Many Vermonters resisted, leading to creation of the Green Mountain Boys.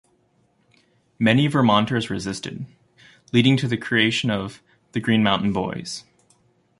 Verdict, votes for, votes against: rejected, 1, 2